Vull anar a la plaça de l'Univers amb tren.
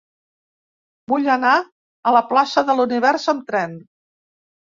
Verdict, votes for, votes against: accepted, 2, 0